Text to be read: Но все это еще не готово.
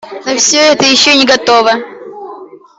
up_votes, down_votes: 0, 2